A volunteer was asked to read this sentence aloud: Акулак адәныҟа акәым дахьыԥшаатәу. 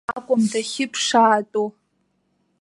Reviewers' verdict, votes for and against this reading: rejected, 0, 2